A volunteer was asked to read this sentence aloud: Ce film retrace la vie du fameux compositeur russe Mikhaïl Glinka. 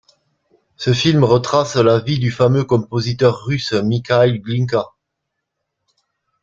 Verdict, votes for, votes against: accepted, 2, 0